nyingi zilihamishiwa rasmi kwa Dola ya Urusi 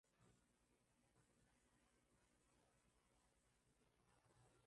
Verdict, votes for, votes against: rejected, 0, 2